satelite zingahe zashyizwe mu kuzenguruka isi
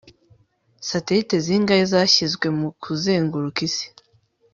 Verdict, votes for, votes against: accepted, 2, 0